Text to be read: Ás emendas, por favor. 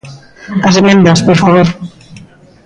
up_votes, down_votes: 2, 0